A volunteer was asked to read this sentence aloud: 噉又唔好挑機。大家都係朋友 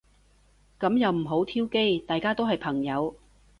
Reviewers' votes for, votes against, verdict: 2, 0, accepted